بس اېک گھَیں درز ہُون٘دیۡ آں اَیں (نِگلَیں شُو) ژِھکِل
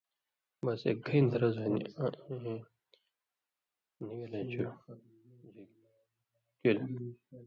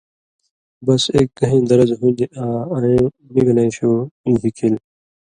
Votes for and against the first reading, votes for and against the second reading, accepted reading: 1, 2, 2, 0, second